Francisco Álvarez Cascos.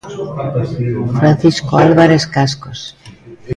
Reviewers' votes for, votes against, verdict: 0, 2, rejected